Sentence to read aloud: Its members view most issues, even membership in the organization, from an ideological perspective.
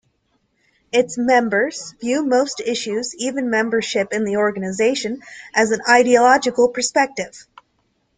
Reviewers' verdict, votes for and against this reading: rejected, 1, 2